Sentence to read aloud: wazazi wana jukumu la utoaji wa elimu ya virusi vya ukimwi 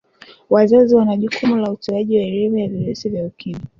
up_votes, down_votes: 2, 1